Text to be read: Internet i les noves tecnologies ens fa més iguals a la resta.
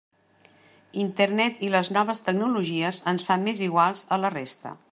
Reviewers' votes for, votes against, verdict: 2, 0, accepted